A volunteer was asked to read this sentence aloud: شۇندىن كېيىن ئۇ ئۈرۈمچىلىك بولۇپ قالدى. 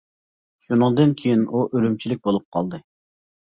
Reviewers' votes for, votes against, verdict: 1, 2, rejected